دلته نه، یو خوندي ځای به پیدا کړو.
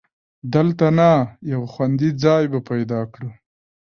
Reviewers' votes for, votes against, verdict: 0, 2, rejected